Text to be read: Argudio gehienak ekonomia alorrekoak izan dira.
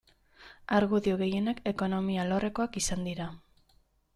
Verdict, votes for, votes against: accepted, 2, 0